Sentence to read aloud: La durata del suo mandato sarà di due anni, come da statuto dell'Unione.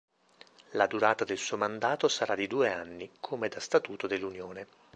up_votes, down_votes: 2, 0